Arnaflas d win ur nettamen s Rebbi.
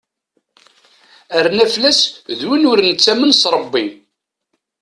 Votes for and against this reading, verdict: 2, 0, accepted